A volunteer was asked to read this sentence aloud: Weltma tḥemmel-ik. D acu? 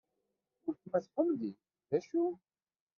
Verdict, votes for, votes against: rejected, 1, 2